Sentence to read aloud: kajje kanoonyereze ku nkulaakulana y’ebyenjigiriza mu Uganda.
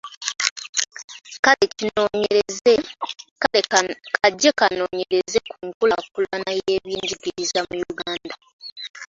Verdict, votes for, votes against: rejected, 0, 2